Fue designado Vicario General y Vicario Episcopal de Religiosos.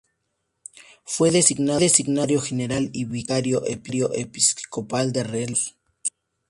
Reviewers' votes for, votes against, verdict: 0, 4, rejected